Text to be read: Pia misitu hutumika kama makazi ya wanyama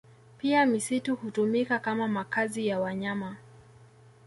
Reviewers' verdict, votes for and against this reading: accepted, 2, 0